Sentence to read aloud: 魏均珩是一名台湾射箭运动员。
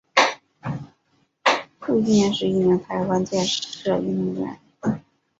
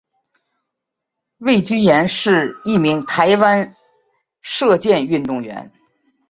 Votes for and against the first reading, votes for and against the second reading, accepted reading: 0, 3, 2, 0, second